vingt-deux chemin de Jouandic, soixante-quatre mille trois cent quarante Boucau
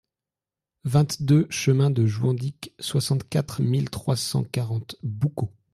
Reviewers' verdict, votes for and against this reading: accepted, 2, 0